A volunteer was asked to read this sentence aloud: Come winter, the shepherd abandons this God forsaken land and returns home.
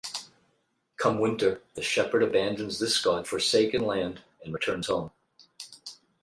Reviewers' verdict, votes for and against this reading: rejected, 4, 4